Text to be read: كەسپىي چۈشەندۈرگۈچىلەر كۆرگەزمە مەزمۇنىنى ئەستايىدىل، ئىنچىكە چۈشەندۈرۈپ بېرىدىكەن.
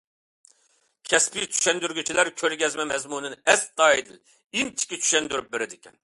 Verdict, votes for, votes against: accepted, 2, 0